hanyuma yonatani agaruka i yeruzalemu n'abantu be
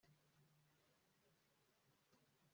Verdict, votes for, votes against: rejected, 0, 2